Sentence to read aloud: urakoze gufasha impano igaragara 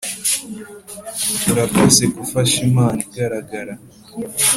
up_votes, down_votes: 2, 0